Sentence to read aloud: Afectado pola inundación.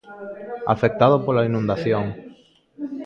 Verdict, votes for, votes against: rejected, 1, 2